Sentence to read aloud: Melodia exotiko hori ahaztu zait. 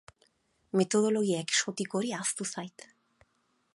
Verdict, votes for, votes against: rejected, 0, 4